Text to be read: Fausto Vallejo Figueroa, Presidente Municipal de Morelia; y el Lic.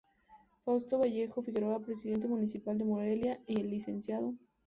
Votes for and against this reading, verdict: 0, 2, rejected